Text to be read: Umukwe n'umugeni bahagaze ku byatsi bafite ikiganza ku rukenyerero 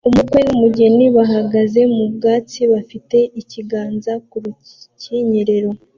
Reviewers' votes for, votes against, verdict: 1, 2, rejected